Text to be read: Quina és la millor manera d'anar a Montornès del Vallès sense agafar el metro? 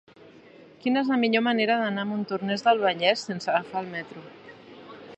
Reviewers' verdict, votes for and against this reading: rejected, 1, 2